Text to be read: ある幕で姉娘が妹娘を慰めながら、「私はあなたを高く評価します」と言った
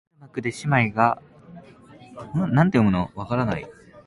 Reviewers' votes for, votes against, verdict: 0, 2, rejected